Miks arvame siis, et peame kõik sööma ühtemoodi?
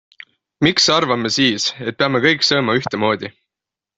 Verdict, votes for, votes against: accepted, 6, 0